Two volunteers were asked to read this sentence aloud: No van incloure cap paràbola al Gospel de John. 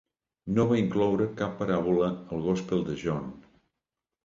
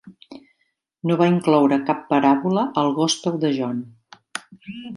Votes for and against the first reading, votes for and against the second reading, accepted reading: 0, 2, 2, 0, second